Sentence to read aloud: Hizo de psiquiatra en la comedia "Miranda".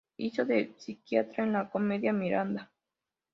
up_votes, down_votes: 2, 0